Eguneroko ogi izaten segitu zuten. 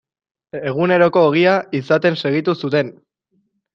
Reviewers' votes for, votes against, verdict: 1, 2, rejected